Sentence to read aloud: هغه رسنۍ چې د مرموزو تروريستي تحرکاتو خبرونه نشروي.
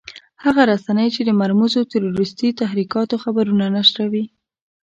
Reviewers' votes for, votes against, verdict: 1, 2, rejected